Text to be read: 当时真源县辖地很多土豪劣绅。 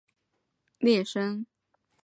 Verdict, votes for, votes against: rejected, 0, 2